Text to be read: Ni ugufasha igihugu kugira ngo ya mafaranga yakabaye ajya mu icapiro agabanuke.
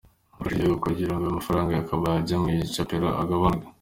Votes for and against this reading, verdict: 2, 0, accepted